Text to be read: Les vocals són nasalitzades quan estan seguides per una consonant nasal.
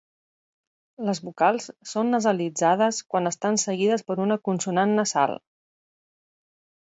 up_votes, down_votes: 4, 0